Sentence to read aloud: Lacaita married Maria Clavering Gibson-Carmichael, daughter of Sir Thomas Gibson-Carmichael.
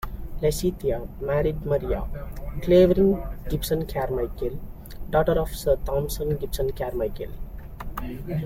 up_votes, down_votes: 2, 1